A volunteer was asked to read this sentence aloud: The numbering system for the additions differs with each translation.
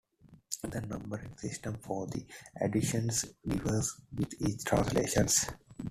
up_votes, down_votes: 0, 2